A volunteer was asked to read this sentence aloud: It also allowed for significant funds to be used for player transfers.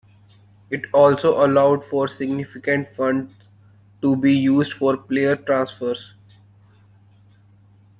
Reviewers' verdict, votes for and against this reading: rejected, 1, 3